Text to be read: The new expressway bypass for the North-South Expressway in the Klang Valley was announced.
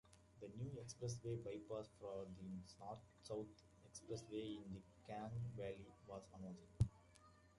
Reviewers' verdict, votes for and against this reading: rejected, 0, 2